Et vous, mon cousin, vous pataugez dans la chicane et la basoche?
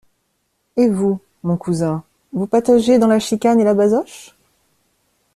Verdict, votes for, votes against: accepted, 2, 0